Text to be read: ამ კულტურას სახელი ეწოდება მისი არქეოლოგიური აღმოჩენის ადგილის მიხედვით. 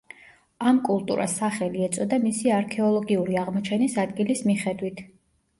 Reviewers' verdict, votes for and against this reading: rejected, 0, 2